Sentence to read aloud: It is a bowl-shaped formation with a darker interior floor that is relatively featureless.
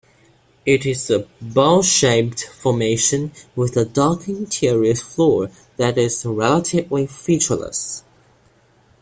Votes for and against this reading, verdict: 2, 1, accepted